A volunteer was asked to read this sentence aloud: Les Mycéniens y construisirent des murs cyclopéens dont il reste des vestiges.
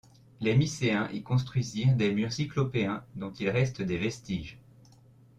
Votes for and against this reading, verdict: 1, 2, rejected